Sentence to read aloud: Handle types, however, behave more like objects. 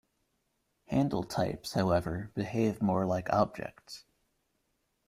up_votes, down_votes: 2, 0